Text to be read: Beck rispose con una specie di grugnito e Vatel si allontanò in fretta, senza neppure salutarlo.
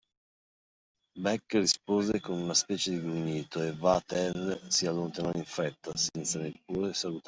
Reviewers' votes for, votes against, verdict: 2, 1, accepted